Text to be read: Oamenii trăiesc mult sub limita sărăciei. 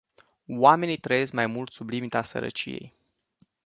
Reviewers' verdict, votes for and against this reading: rejected, 0, 2